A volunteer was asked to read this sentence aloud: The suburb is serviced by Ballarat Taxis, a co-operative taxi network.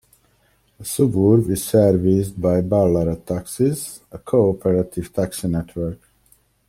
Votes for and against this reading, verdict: 1, 2, rejected